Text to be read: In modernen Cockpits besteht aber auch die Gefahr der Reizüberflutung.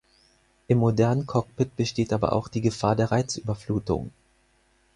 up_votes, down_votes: 2, 4